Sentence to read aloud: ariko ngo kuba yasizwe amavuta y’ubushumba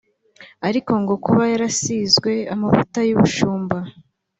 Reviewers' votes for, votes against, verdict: 1, 2, rejected